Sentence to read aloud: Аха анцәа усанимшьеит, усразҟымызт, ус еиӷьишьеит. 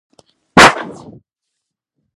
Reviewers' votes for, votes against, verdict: 0, 2, rejected